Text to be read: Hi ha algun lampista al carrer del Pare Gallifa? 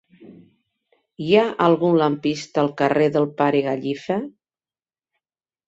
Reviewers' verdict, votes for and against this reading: accepted, 3, 0